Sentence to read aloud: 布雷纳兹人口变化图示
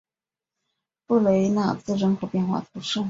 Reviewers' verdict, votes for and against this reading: accepted, 2, 0